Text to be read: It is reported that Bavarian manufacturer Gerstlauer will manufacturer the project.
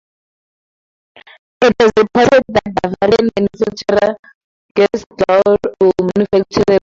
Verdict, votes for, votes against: rejected, 0, 4